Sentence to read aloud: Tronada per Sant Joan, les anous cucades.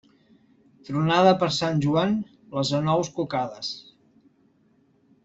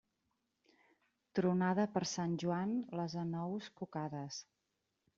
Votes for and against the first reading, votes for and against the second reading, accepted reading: 2, 0, 1, 2, first